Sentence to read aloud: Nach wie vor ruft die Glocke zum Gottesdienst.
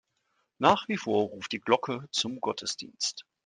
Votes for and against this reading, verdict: 2, 0, accepted